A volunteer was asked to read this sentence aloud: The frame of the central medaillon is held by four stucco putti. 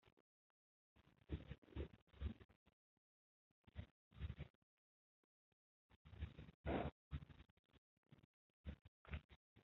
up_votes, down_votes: 0, 2